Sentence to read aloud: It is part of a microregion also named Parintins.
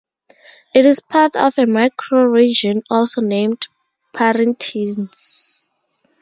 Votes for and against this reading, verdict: 2, 0, accepted